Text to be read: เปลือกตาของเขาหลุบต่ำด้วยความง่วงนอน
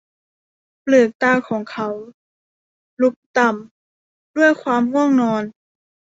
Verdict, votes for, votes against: rejected, 1, 2